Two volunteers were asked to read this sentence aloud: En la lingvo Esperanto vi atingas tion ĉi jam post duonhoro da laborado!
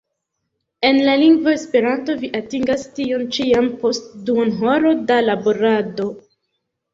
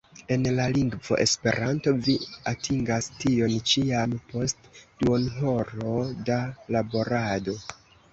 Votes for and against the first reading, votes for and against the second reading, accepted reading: 2, 0, 0, 2, first